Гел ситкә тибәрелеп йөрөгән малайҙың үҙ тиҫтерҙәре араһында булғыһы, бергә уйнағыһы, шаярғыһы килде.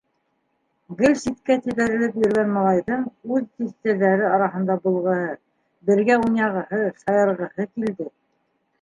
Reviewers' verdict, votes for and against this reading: rejected, 1, 2